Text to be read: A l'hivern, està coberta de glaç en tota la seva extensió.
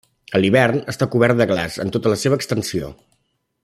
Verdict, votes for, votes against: rejected, 1, 2